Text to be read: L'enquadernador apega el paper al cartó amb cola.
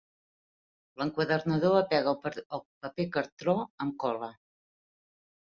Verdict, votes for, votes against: rejected, 1, 3